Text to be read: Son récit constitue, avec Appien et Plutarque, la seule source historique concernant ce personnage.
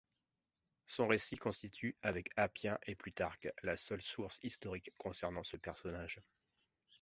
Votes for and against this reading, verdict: 2, 0, accepted